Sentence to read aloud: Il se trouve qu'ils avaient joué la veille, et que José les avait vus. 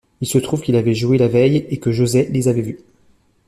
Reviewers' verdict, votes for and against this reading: rejected, 0, 2